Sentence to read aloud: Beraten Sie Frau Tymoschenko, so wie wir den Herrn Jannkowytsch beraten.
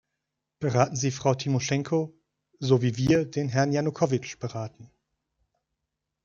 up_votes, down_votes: 0, 2